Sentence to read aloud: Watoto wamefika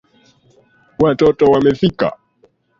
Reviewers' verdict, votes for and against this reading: rejected, 0, 2